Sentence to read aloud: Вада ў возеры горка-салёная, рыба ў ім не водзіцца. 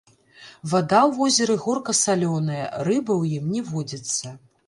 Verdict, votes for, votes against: rejected, 0, 2